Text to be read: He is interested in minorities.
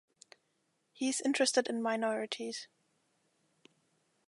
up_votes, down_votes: 2, 0